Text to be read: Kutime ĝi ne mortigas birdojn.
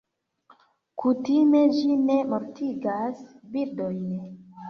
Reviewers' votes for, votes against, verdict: 2, 0, accepted